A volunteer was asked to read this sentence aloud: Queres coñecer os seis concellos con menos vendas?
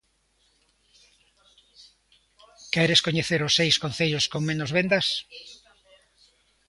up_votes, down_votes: 1, 2